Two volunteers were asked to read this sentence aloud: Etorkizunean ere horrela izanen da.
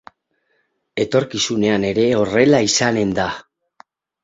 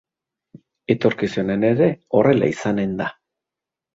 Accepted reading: second